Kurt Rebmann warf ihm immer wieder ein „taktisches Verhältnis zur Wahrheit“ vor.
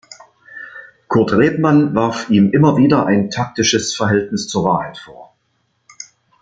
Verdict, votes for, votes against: accepted, 4, 0